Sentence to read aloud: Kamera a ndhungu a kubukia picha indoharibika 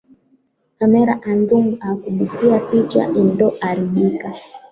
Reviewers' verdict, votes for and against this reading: rejected, 0, 2